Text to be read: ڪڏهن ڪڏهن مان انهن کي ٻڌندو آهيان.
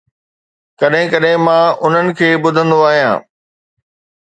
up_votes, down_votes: 2, 0